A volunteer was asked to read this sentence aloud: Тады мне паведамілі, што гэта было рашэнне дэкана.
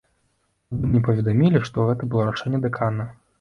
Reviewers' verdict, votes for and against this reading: rejected, 1, 2